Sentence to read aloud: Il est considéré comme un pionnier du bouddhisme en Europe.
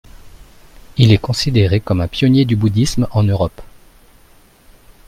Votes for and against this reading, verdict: 2, 0, accepted